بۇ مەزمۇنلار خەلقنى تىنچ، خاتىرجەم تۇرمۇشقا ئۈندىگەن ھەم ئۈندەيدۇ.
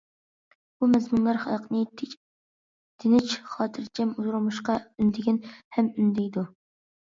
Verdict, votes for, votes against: rejected, 0, 2